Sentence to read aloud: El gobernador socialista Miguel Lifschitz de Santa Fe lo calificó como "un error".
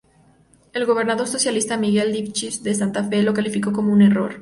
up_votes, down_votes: 2, 2